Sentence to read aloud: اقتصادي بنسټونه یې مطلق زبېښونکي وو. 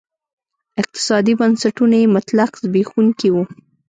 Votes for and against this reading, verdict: 2, 0, accepted